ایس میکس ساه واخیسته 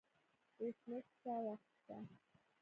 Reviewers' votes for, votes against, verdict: 1, 2, rejected